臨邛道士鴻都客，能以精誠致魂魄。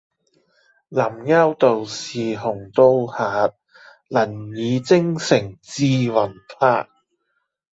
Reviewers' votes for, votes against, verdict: 1, 2, rejected